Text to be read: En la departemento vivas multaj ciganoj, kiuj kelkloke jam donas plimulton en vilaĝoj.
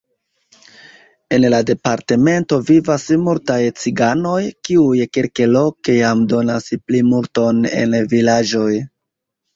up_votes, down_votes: 2, 0